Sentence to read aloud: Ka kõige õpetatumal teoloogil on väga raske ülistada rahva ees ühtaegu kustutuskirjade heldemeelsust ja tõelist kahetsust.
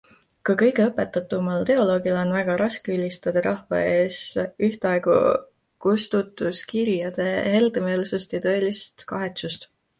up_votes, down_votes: 2, 1